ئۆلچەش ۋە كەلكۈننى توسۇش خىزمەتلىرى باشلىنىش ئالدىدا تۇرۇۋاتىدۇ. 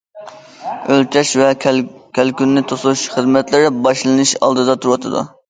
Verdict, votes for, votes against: accepted, 2, 1